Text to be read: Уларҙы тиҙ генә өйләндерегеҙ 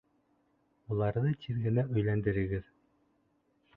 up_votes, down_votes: 2, 0